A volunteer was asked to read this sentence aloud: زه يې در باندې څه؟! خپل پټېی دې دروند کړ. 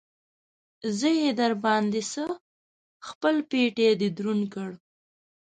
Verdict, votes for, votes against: accepted, 2, 0